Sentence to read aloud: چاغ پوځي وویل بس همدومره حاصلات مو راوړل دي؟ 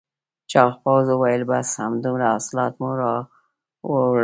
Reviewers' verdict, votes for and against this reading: rejected, 1, 2